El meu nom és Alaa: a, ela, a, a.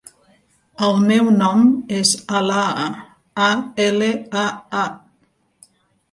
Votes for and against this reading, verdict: 0, 2, rejected